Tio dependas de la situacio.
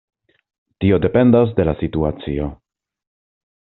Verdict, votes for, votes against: accepted, 2, 0